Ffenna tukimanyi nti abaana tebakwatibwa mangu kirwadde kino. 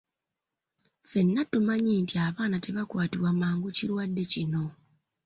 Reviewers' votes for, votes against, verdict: 1, 2, rejected